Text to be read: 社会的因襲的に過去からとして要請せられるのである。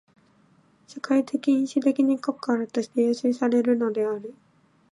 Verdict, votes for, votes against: accepted, 2, 1